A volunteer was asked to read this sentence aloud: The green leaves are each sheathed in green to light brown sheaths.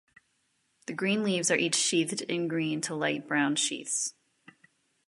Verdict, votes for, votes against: accepted, 2, 0